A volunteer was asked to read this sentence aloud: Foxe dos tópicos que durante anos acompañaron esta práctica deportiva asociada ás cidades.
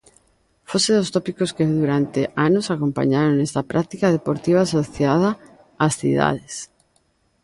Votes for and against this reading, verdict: 2, 0, accepted